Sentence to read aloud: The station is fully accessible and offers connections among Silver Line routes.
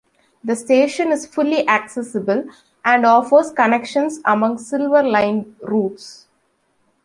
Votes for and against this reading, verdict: 2, 0, accepted